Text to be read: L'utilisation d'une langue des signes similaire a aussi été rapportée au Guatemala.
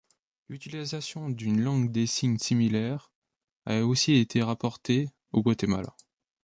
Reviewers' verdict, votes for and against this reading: rejected, 1, 2